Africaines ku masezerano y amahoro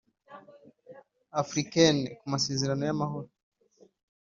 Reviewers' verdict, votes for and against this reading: accepted, 3, 0